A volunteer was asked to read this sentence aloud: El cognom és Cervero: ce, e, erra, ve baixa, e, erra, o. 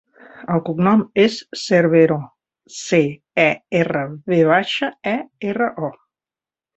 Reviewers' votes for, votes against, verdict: 3, 0, accepted